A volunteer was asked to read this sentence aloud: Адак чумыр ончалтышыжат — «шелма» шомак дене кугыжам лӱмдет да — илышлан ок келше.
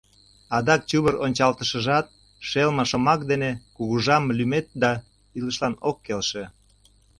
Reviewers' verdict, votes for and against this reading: rejected, 0, 2